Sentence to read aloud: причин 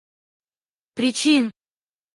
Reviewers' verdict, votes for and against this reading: rejected, 2, 2